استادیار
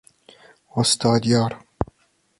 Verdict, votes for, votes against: accepted, 2, 0